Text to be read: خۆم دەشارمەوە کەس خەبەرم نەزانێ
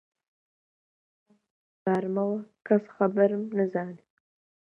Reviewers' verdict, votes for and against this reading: rejected, 0, 2